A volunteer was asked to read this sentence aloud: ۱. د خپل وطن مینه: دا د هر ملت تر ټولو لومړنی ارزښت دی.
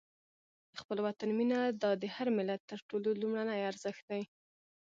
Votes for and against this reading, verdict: 0, 2, rejected